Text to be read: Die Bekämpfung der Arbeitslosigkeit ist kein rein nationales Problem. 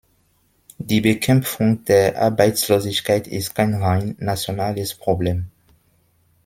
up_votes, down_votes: 2, 1